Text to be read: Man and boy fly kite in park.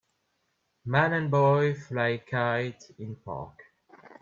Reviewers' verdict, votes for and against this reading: accepted, 2, 0